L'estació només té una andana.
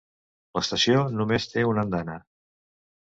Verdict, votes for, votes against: accepted, 2, 0